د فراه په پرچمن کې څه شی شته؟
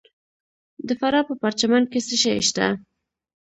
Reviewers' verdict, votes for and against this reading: accepted, 3, 0